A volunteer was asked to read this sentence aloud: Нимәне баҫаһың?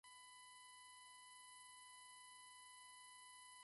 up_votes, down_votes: 1, 2